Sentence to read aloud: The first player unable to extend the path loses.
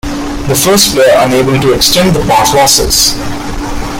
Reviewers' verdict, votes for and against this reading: accepted, 2, 1